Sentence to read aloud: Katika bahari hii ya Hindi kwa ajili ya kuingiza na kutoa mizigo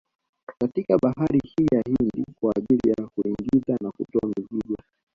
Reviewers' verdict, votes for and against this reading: rejected, 0, 2